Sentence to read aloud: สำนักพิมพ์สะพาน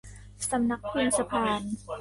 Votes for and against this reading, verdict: 0, 2, rejected